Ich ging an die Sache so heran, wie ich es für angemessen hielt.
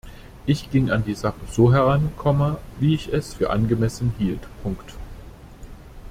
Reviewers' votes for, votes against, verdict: 0, 2, rejected